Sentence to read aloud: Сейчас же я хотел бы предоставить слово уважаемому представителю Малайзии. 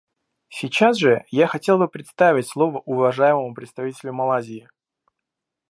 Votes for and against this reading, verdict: 2, 1, accepted